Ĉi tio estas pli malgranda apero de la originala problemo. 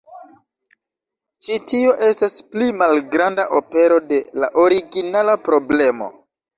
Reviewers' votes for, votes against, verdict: 1, 2, rejected